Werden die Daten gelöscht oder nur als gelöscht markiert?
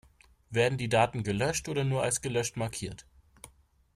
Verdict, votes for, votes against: accepted, 2, 0